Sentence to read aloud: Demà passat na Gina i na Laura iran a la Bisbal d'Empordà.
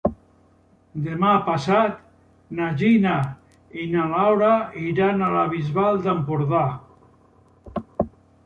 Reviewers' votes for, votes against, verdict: 2, 0, accepted